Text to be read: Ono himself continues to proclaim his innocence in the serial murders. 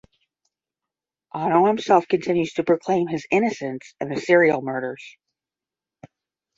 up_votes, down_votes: 10, 0